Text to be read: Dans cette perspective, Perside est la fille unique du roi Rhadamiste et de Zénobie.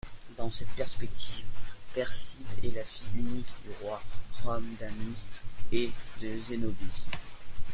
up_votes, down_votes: 2, 3